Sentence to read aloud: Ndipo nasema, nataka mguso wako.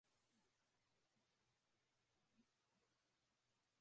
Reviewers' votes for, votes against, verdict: 0, 2, rejected